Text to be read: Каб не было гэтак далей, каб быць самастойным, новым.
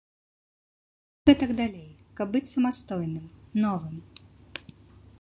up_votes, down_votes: 0, 3